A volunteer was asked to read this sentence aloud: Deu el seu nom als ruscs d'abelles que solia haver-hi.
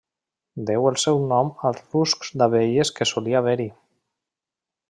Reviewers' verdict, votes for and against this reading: rejected, 0, 2